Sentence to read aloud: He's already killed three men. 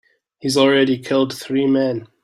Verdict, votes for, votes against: accepted, 3, 0